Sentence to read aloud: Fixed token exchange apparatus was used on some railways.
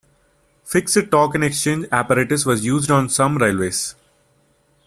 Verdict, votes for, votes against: accepted, 2, 0